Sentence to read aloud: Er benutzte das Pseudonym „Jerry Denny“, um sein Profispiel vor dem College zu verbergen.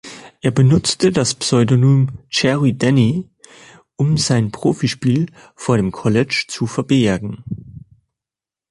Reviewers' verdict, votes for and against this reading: accepted, 2, 0